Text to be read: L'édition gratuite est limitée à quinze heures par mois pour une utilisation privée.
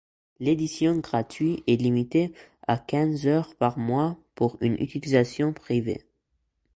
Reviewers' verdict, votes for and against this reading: rejected, 1, 2